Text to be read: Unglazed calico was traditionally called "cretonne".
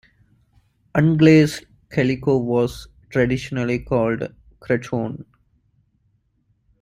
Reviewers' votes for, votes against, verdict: 2, 0, accepted